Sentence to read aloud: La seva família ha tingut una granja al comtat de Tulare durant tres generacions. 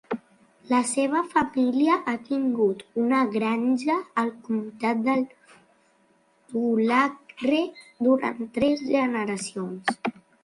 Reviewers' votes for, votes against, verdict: 1, 2, rejected